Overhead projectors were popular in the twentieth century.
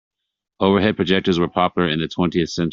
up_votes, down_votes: 1, 2